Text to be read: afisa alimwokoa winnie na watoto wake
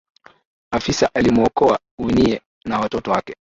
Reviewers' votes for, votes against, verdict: 2, 1, accepted